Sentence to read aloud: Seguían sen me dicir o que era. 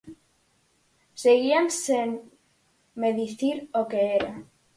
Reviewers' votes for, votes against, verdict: 2, 4, rejected